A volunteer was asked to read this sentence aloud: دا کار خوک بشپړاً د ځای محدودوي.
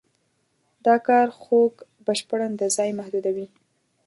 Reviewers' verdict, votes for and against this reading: rejected, 0, 2